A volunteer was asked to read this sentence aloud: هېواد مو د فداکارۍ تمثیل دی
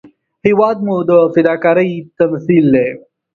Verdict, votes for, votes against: accepted, 2, 0